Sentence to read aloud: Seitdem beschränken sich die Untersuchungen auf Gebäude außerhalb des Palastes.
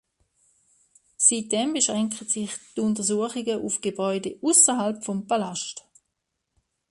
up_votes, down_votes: 0, 2